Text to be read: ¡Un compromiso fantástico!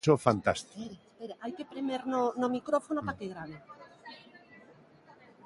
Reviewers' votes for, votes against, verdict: 0, 2, rejected